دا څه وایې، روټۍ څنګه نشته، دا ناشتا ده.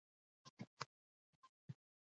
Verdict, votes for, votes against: rejected, 1, 2